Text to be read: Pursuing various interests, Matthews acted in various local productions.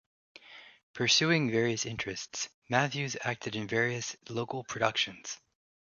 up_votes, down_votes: 2, 0